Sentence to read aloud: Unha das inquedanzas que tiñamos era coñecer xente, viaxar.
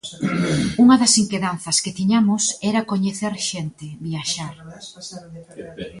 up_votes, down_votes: 2, 1